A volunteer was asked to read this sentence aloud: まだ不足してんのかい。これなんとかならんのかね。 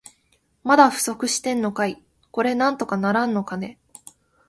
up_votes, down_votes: 2, 0